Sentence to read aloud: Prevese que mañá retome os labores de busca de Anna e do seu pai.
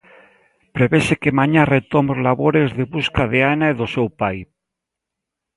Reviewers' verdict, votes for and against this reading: accepted, 2, 0